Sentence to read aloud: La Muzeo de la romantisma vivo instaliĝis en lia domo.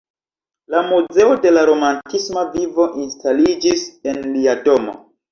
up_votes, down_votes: 2, 1